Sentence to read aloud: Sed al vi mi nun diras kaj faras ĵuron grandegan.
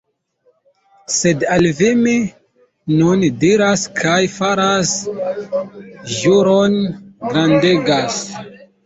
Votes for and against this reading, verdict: 1, 2, rejected